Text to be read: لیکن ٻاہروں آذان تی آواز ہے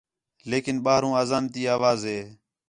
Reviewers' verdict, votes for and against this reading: accepted, 4, 0